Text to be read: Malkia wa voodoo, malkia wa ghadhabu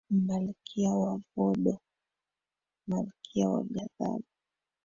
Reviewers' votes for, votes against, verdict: 1, 2, rejected